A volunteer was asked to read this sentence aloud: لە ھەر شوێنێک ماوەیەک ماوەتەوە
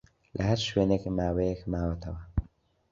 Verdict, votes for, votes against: accepted, 2, 0